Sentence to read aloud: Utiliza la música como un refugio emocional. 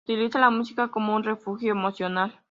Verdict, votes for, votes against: accepted, 3, 0